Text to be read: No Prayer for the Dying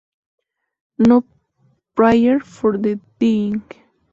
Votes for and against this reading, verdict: 0, 4, rejected